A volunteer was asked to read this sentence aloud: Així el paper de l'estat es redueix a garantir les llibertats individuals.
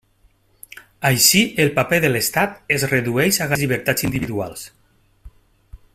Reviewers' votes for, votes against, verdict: 0, 2, rejected